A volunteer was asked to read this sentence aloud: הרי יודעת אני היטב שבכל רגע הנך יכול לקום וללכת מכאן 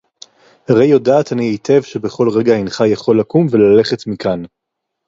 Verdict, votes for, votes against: accepted, 4, 0